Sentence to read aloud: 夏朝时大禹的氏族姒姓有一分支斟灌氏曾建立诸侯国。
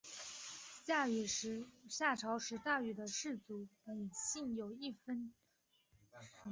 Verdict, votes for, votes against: accepted, 2, 0